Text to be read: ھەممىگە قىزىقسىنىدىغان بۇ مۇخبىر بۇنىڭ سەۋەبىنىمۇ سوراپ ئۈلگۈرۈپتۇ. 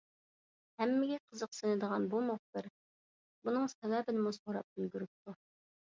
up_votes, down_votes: 2, 0